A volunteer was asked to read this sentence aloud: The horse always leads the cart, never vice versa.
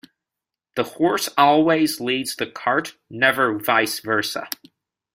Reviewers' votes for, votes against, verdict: 2, 0, accepted